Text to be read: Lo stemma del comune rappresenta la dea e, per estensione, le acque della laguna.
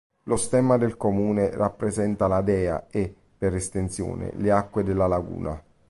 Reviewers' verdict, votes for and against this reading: accepted, 2, 0